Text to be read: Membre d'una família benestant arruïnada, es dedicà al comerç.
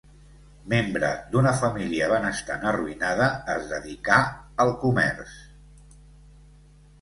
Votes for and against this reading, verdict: 2, 0, accepted